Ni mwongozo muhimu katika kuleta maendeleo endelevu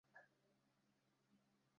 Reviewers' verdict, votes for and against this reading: rejected, 0, 2